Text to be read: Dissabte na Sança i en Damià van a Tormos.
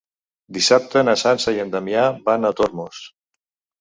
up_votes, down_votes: 3, 0